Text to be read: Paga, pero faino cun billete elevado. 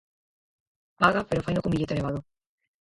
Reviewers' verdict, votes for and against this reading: rejected, 0, 4